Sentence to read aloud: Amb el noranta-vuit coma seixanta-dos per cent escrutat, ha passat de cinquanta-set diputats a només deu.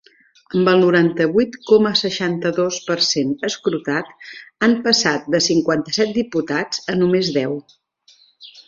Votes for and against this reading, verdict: 0, 2, rejected